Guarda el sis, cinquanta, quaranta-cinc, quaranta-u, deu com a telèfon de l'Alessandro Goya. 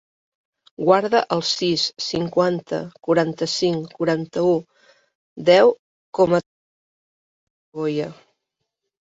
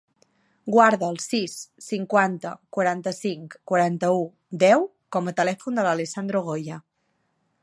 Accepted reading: second